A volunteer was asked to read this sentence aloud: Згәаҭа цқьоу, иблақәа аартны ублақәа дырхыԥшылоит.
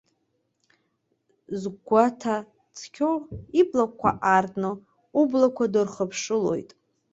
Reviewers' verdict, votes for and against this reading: rejected, 0, 2